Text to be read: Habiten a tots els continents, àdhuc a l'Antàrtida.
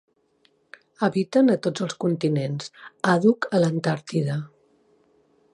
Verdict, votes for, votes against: accepted, 2, 0